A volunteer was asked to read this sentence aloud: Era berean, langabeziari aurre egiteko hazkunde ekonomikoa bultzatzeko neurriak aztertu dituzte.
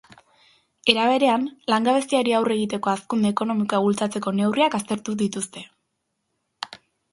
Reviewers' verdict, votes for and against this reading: accepted, 2, 0